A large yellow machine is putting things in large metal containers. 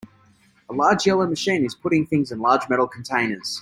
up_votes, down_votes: 4, 0